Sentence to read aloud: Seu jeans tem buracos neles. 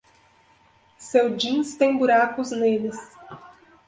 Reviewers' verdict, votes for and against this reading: accepted, 2, 0